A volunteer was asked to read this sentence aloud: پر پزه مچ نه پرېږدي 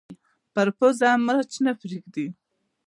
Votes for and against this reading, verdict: 0, 2, rejected